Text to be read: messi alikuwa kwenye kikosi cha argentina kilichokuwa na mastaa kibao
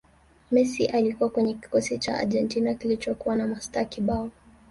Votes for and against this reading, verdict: 2, 1, accepted